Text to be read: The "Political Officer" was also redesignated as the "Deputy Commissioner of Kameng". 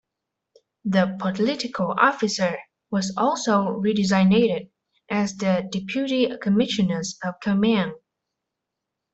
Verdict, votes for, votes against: rejected, 1, 2